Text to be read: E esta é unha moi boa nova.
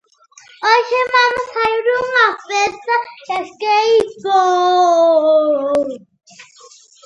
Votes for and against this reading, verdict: 0, 2, rejected